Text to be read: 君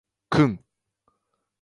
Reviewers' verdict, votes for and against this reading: rejected, 1, 2